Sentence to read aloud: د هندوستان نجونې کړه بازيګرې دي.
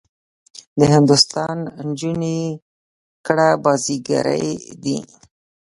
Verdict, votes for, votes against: rejected, 1, 2